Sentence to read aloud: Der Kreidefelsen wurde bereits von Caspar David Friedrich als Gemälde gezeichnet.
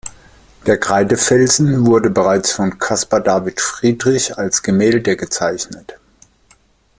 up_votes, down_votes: 2, 0